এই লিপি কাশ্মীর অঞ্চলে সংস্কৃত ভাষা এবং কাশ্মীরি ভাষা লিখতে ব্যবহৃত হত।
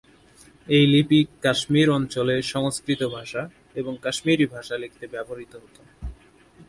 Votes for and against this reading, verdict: 6, 0, accepted